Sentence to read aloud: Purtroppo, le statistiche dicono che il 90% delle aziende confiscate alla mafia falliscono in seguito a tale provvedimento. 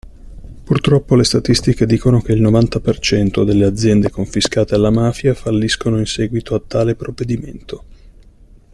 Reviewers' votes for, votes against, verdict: 0, 2, rejected